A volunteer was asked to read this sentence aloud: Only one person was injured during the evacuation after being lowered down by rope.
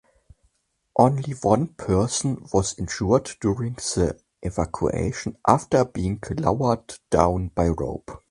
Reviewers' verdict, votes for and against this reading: accepted, 2, 0